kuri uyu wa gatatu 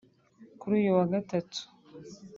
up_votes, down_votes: 2, 0